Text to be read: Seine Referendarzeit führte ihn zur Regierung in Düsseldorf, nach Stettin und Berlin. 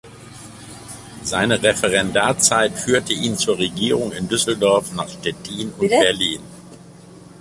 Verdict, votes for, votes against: rejected, 0, 2